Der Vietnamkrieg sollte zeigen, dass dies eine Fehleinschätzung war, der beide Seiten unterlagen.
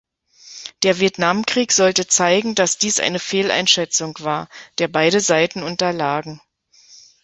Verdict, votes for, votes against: accepted, 2, 0